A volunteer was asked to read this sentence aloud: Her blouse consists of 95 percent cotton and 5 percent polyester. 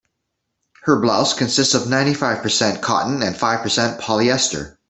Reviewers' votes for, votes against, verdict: 0, 2, rejected